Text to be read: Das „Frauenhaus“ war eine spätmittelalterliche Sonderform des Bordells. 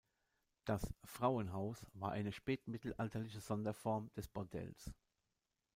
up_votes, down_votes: 0, 2